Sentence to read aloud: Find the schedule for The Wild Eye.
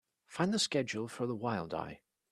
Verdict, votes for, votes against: accepted, 2, 0